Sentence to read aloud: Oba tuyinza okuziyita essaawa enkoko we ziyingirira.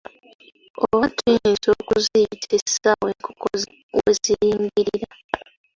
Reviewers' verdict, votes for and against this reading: accepted, 2, 0